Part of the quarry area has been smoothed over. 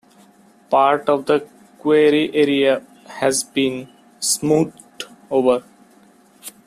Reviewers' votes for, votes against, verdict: 2, 0, accepted